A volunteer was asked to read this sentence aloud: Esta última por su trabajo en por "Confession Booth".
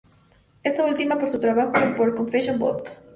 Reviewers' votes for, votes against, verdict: 2, 0, accepted